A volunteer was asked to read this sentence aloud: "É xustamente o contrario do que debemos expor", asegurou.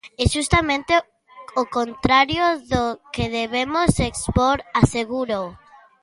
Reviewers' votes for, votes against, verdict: 1, 3, rejected